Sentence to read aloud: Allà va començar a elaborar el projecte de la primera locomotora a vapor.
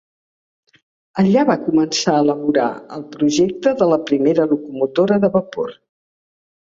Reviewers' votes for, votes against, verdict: 1, 2, rejected